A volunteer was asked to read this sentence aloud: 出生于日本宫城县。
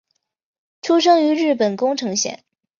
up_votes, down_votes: 2, 0